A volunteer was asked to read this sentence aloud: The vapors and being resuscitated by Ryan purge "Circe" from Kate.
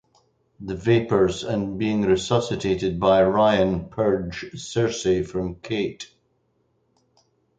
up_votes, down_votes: 4, 0